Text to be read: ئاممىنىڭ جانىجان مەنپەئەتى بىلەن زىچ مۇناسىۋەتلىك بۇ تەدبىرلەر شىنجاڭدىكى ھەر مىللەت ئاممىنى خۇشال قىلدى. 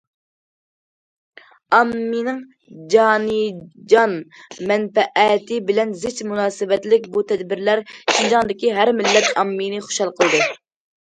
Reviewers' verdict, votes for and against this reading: accepted, 2, 0